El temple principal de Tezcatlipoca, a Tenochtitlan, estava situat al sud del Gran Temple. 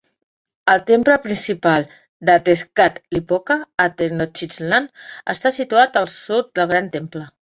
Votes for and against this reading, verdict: 0, 2, rejected